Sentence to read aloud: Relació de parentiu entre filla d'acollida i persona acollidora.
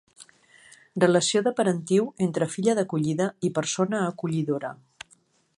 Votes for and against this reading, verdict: 2, 0, accepted